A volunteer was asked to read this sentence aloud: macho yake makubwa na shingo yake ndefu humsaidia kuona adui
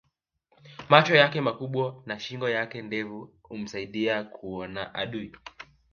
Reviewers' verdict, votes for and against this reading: rejected, 1, 2